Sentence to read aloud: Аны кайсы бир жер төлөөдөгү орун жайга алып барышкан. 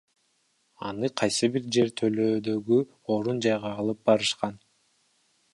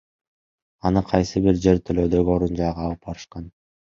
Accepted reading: second